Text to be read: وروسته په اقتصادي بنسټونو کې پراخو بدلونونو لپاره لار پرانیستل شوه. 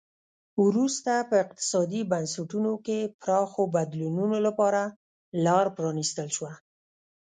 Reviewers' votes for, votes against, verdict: 1, 2, rejected